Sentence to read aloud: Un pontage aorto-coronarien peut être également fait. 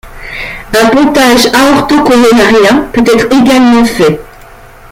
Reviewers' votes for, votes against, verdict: 2, 1, accepted